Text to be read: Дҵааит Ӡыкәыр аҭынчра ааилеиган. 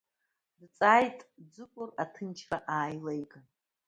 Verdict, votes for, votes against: accepted, 2, 1